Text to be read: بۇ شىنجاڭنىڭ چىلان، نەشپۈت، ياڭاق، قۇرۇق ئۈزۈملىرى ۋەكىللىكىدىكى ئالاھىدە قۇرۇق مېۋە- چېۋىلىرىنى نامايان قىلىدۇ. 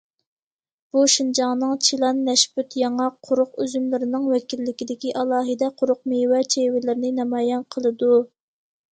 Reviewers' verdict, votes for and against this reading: rejected, 1, 2